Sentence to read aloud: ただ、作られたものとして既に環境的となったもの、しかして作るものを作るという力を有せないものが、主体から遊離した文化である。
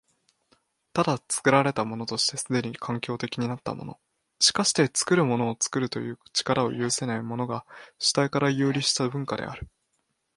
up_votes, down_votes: 5, 0